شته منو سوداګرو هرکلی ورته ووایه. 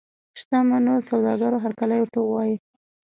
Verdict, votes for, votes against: accepted, 2, 1